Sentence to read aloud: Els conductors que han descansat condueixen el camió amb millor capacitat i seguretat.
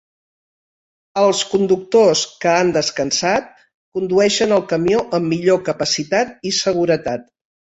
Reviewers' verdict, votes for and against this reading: accepted, 3, 0